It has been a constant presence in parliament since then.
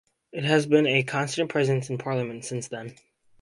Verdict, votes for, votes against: accepted, 4, 0